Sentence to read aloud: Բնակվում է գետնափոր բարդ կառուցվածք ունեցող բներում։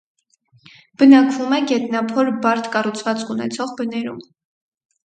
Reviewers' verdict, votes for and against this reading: rejected, 2, 2